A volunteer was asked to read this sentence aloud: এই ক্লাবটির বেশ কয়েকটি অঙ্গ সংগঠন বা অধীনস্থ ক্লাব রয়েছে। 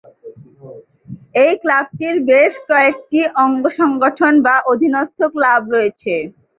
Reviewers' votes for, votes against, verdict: 2, 2, rejected